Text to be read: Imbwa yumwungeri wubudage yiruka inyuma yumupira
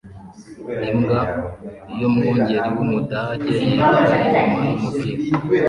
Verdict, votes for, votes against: rejected, 1, 2